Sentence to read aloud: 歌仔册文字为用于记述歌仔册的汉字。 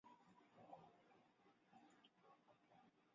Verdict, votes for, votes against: rejected, 1, 5